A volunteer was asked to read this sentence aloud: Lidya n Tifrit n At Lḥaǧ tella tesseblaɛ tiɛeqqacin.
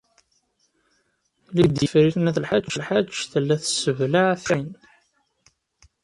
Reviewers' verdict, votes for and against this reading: rejected, 0, 2